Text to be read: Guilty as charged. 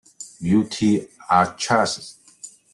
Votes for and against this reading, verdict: 0, 2, rejected